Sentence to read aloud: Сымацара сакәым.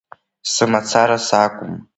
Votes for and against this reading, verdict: 2, 1, accepted